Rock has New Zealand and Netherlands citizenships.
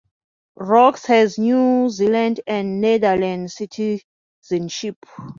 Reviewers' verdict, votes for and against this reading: rejected, 0, 2